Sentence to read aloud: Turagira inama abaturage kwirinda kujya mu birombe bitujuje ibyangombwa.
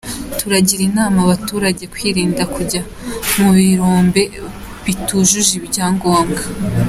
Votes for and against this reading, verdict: 2, 0, accepted